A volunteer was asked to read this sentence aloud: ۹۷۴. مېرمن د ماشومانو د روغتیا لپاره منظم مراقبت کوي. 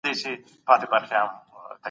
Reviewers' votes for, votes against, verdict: 0, 2, rejected